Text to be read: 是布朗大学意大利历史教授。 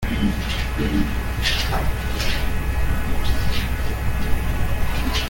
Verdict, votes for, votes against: rejected, 0, 2